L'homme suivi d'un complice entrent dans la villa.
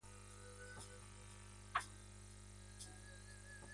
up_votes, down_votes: 0, 2